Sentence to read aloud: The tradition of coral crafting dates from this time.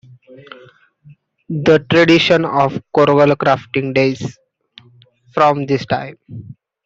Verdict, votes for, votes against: rejected, 0, 2